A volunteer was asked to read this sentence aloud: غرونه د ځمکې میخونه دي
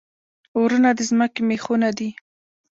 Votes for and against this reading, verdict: 2, 0, accepted